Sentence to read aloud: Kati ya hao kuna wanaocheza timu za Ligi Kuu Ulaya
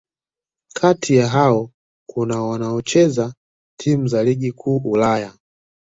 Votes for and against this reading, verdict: 2, 1, accepted